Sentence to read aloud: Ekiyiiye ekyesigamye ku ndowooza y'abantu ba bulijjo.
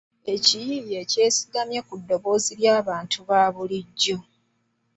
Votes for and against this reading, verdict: 0, 2, rejected